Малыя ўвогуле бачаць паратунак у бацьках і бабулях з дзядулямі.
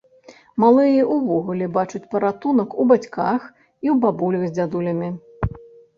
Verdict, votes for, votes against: rejected, 1, 2